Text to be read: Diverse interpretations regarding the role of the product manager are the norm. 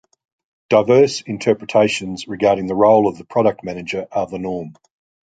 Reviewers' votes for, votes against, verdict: 2, 0, accepted